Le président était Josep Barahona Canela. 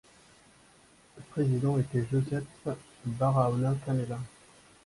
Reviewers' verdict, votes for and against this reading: accepted, 2, 1